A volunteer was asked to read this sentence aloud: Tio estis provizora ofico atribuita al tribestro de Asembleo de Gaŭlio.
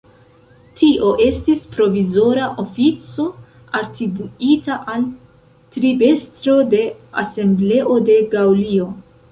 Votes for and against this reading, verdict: 2, 1, accepted